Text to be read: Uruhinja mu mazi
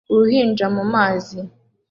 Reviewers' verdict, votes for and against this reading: accepted, 2, 0